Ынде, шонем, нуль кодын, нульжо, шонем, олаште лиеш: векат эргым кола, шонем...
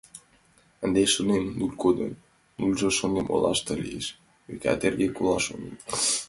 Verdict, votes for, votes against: rejected, 0, 2